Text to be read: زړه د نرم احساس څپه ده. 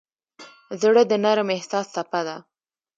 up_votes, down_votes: 2, 1